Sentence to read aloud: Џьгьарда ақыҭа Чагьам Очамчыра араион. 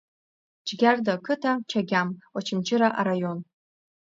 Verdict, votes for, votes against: rejected, 1, 2